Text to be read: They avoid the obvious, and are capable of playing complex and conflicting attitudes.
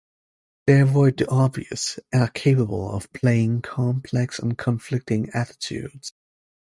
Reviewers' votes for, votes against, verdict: 2, 0, accepted